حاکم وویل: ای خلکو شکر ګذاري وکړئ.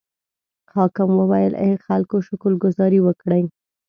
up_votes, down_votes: 2, 0